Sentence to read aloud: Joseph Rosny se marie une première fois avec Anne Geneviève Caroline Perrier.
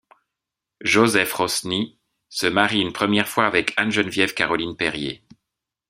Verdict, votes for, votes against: accepted, 2, 0